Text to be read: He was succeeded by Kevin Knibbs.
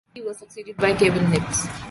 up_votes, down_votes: 2, 0